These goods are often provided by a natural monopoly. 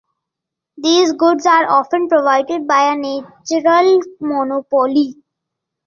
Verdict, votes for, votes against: accepted, 2, 0